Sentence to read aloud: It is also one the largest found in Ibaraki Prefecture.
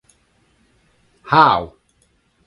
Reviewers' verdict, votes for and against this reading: rejected, 0, 2